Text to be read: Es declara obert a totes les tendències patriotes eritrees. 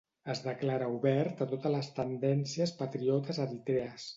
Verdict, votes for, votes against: accepted, 2, 0